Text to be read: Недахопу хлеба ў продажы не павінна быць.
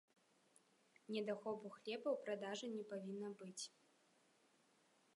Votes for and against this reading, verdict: 1, 2, rejected